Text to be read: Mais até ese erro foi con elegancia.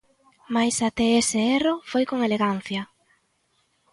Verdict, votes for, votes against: accepted, 2, 0